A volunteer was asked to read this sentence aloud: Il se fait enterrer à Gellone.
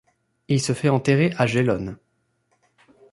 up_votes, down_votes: 2, 0